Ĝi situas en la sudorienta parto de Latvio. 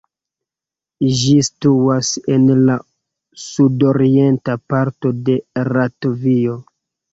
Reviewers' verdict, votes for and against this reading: rejected, 0, 2